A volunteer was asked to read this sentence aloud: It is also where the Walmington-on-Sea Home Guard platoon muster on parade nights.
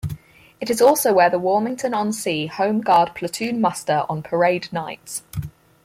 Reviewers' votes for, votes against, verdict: 2, 4, rejected